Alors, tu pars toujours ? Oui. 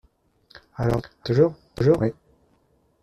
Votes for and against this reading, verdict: 0, 2, rejected